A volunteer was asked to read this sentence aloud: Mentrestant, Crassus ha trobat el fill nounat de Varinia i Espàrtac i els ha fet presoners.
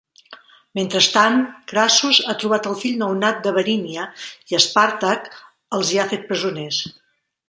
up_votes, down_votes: 1, 2